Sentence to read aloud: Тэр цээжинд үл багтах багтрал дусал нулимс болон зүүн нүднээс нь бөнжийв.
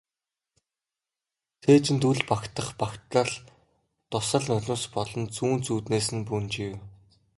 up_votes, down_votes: 1, 2